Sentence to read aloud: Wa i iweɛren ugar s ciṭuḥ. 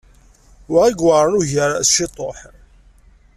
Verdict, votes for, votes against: accepted, 2, 0